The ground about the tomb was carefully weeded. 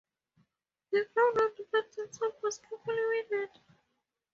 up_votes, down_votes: 0, 2